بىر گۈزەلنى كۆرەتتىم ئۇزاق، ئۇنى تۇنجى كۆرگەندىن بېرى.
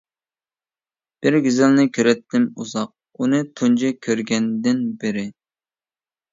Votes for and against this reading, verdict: 2, 0, accepted